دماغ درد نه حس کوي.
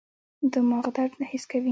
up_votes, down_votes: 1, 2